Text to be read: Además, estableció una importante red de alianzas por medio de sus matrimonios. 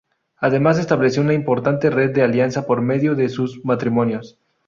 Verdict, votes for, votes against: rejected, 0, 2